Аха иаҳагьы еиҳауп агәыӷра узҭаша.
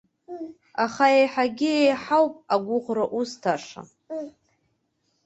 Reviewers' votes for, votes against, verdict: 2, 0, accepted